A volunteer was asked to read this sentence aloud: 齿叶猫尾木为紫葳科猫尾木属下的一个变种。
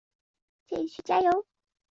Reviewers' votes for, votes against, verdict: 0, 2, rejected